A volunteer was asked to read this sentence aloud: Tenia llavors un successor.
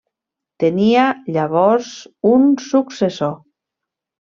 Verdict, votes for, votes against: accepted, 3, 0